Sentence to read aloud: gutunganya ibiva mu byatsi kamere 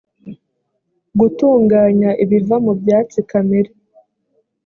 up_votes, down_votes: 2, 0